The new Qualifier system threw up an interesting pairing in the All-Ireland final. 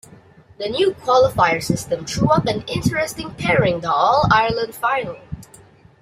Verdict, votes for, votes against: rejected, 0, 2